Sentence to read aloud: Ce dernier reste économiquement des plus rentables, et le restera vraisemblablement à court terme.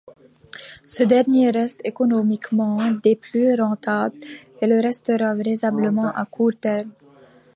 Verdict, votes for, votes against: accepted, 2, 0